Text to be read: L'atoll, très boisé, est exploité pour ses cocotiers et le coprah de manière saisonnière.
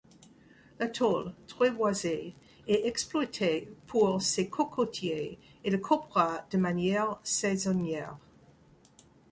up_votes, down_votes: 2, 0